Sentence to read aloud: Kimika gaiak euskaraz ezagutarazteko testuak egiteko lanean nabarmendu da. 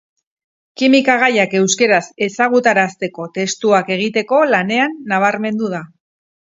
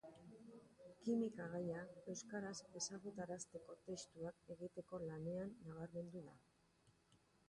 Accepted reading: second